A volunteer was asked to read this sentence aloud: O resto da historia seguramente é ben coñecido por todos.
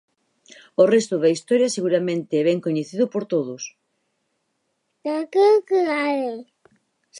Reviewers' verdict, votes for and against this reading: rejected, 0, 4